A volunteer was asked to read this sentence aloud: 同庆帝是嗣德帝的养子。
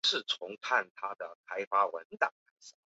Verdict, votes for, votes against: accepted, 3, 0